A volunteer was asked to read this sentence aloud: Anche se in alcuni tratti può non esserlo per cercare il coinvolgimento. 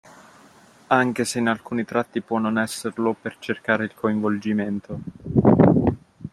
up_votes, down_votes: 2, 0